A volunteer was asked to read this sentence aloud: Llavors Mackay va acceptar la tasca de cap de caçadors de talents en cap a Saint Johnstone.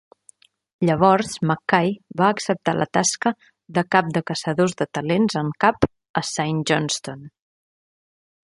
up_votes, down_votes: 2, 0